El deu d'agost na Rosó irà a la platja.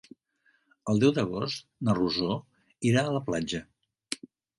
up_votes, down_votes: 3, 0